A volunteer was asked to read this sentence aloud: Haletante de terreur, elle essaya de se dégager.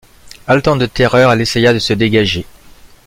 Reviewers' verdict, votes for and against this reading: rejected, 1, 2